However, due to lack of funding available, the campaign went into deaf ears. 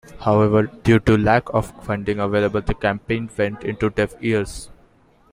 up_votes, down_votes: 2, 0